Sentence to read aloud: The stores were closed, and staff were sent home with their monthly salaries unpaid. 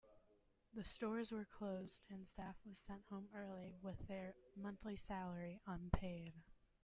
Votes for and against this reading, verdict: 1, 2, rejected